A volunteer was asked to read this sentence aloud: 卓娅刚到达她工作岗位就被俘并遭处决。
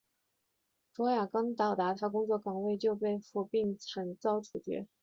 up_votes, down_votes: 5, 0